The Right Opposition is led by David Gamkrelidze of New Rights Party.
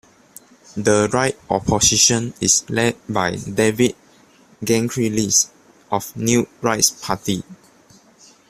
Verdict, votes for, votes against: accepted, 2, 1